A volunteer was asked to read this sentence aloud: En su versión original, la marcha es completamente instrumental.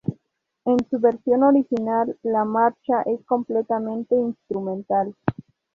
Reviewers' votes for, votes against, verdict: 2, 0, accepted